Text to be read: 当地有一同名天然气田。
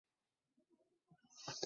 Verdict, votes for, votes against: rejected, 0, 2